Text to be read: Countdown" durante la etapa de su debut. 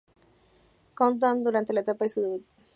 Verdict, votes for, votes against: rejected, 1, 2